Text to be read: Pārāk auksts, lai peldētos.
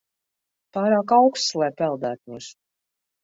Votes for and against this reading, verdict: 2, 0, accepted